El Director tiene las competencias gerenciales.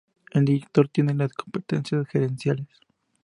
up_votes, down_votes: 4, 0